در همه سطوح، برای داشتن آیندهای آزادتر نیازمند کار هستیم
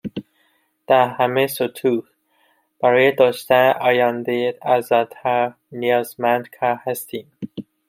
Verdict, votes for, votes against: rejected, 1, 2